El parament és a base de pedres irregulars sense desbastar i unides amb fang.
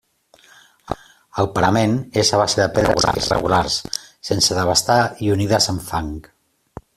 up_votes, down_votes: 0, 2